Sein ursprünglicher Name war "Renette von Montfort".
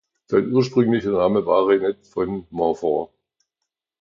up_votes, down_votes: 2, 0